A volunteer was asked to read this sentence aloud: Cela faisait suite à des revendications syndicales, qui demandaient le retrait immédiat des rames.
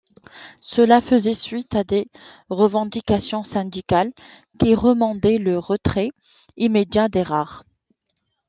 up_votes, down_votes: 0, 2